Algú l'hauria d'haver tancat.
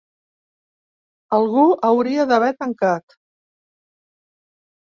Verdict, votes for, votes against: rejected, 0, 2